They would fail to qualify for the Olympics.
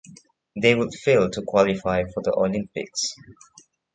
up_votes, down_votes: 2, 0